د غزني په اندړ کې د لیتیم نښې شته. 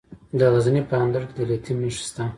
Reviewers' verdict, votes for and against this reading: accepted, 2, 0